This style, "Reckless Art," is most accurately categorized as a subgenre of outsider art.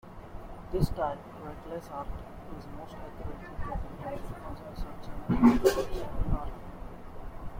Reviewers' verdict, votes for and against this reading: rejected, 0, 2